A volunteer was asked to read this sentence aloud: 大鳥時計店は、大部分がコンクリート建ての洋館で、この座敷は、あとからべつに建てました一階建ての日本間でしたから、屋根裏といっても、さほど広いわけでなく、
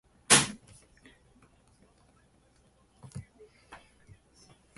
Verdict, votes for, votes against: rejected, 1, 3